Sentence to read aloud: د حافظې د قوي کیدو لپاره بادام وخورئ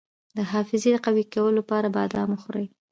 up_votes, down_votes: 2, 0